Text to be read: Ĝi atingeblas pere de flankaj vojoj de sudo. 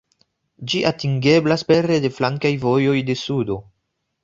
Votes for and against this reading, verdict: 1, 2, rejected